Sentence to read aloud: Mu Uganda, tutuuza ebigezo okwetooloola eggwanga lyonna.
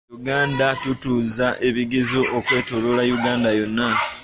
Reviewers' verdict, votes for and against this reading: accepted, 2, 1